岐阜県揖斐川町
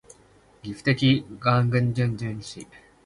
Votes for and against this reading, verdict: 0, 2, rejected